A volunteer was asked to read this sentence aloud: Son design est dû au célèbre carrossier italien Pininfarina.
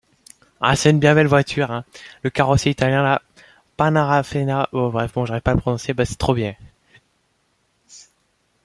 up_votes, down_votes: 0, 2